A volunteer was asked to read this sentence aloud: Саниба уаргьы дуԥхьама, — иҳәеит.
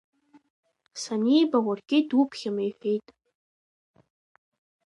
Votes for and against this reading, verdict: 1, 2, rejected